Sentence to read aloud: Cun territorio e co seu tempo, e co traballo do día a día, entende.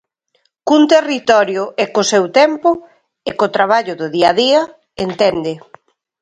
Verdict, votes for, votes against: accepted, 2, 0